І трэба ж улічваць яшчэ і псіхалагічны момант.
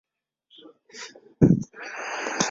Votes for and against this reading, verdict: 0, 2, rejected